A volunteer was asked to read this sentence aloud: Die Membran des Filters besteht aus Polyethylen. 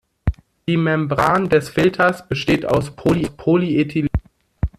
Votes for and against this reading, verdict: 0, 2, rejected